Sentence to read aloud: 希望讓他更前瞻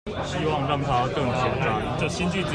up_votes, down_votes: 0, 2